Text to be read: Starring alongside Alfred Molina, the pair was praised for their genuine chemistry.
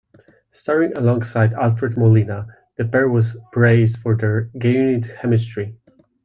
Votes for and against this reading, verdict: 0, 2, rejected